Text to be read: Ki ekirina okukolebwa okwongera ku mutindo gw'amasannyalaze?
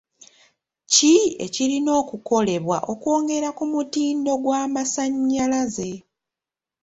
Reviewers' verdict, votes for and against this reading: accepted, 2, 0